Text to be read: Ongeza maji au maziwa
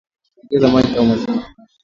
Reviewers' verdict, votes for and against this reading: rejected, 0, 2